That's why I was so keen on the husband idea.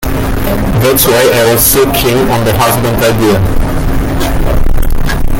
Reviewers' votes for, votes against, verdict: 1, 2, rejected